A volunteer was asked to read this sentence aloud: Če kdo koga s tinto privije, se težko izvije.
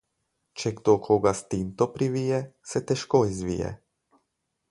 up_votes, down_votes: 10, 0